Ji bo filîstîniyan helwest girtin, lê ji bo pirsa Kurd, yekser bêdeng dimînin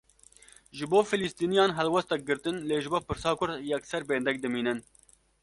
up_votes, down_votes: 1, 2